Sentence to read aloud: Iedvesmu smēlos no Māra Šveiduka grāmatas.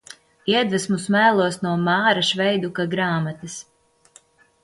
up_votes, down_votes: 2, 0